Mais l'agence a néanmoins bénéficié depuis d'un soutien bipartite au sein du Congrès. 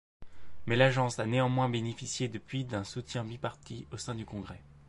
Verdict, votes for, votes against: rejected, 1, 2